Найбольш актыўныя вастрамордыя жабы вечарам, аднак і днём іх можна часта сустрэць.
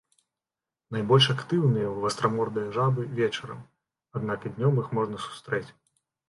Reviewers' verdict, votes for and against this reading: rejected, 0, 2